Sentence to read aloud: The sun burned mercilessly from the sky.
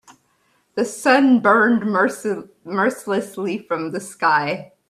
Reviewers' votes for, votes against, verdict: 0, 2, rejected